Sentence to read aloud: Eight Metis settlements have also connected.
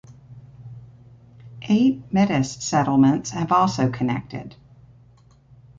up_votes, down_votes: 2, 0